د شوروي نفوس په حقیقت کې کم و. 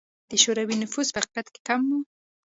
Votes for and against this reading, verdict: 2, 0, accepted